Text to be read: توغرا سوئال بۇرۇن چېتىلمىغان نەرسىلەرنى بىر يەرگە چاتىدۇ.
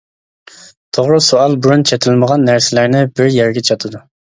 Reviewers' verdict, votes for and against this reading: accepted, 2, 0